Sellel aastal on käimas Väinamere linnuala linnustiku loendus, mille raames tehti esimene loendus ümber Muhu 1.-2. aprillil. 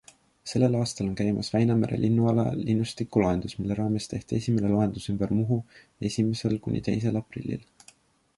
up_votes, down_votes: 0, 2